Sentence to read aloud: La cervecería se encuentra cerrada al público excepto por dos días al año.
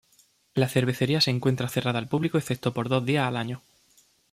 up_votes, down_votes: 2, 0